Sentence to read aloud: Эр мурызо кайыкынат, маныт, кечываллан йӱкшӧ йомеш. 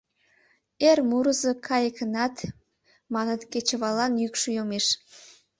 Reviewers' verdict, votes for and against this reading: accepted, 3, 0